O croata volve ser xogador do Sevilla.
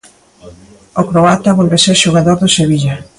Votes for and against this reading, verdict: 2, 1, accepted